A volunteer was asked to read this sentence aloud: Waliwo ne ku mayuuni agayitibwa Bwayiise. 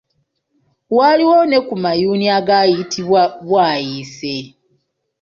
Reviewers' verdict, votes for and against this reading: accepted, 2, 0